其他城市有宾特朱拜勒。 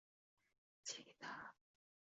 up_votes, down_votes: 2, 3